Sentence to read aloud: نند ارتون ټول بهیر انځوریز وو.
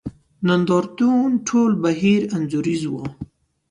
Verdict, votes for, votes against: accepted, 2, 0